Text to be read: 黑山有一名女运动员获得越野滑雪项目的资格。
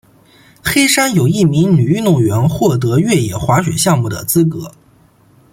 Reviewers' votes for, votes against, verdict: 2, 0, accepted